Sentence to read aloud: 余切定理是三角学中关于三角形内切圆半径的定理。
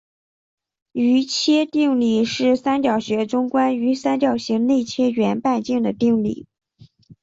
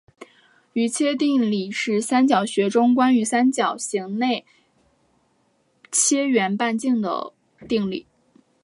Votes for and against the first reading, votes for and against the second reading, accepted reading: 5, 1, 0, 2, first